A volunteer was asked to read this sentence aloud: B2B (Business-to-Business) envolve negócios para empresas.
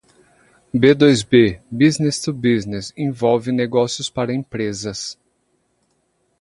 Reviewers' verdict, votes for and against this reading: rejected, 0, 2